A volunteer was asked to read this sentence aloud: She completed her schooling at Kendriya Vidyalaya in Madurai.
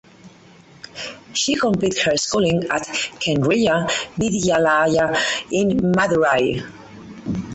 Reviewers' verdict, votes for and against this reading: rejected, 0, 4